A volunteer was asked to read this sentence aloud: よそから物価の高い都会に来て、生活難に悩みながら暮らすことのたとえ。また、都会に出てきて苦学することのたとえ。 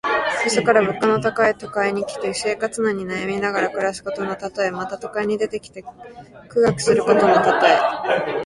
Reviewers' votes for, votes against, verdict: 2, 1, accepted